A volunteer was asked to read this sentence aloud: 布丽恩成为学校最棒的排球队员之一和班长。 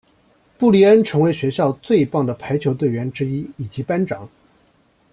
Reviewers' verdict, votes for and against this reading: rejected, 1, 2